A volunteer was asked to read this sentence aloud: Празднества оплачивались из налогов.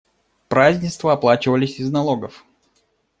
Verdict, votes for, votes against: accepted, 2, 0